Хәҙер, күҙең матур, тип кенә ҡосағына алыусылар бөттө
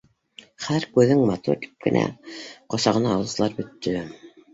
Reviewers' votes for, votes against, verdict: 3, 0, accepted